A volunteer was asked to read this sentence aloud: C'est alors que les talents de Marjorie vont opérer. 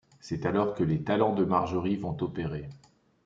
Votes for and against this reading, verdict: 2, 0, accepted